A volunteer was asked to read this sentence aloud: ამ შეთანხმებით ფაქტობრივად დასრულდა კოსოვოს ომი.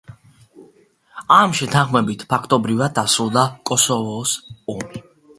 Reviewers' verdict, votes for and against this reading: accepted, 2, 1